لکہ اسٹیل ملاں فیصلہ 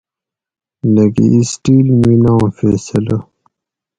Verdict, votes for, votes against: accepted, 4, 0